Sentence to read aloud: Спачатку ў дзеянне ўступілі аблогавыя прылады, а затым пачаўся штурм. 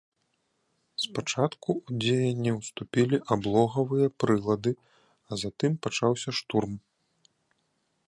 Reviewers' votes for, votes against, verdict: 0, 2, rejected